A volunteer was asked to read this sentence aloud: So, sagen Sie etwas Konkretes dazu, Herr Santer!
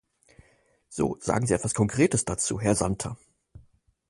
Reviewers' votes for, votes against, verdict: 4, 0, accepted